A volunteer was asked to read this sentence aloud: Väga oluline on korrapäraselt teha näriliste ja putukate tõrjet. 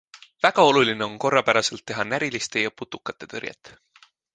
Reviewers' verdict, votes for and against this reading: accepted, 2, 0